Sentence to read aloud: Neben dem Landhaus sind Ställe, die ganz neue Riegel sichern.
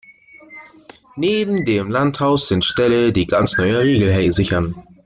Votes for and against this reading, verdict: 0, 2, rejected